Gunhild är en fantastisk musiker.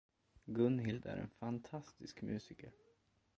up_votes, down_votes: 2, 0